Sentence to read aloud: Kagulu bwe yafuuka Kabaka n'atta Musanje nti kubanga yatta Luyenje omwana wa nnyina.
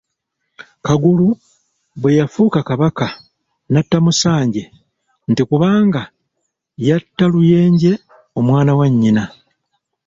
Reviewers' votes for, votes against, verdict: 2, 0, accepted